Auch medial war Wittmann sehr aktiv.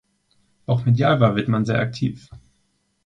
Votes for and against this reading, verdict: 2, 0, accepted